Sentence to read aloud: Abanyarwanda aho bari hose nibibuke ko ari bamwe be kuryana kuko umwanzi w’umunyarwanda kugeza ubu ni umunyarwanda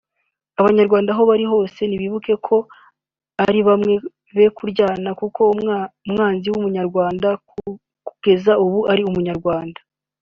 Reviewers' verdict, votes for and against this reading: rejected, 1, 2